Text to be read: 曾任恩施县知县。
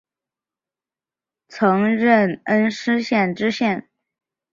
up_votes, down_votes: 4, 1